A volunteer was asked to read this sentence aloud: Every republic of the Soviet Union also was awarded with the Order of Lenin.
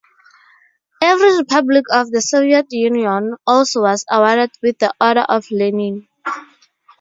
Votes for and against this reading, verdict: 4, 0, accepted